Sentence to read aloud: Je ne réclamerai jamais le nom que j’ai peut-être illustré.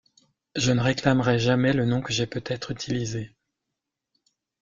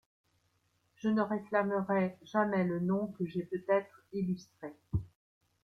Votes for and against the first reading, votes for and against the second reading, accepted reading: 0, 2, 2, 0, second